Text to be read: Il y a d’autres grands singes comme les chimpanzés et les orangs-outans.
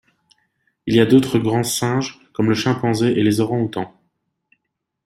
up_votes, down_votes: 0, 2